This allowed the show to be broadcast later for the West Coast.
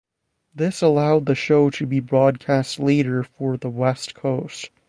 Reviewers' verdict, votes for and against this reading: accepted, 2, 0